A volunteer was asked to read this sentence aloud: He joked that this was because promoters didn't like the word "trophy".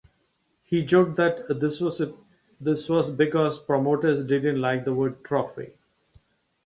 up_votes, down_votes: 0, 2